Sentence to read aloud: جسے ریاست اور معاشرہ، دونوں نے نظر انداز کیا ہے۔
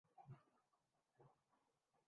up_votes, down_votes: 1, 10